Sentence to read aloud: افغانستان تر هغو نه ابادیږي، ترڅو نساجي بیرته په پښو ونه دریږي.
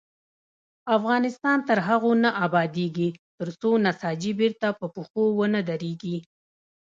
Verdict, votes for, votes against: rejected, 0, 2